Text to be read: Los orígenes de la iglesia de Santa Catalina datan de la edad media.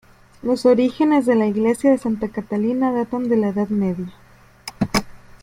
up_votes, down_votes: 0, 2